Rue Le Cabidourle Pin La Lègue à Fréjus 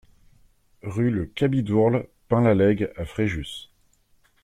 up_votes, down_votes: 2, 0